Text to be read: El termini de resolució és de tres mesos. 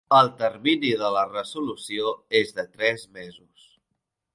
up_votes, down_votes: 0, 3